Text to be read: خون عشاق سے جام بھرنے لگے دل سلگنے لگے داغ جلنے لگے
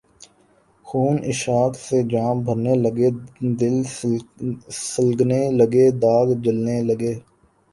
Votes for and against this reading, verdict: 2, 0, accepted